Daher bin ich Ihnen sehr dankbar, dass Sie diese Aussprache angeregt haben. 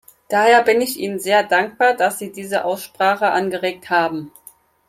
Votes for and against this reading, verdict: 4, 0, accepted